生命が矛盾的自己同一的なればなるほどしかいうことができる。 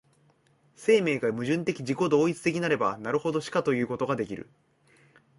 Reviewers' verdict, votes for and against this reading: accepted, 2, 0